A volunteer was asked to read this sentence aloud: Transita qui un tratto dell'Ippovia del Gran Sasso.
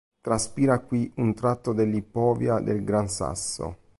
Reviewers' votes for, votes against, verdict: 0, 2, rejected